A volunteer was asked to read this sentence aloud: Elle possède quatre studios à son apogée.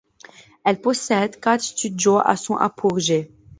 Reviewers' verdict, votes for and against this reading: rejected, 0, 2